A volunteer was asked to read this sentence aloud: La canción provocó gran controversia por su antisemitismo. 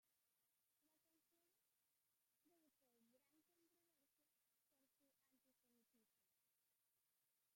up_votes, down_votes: 0, 2